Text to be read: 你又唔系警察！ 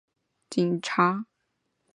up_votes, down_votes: 0, 2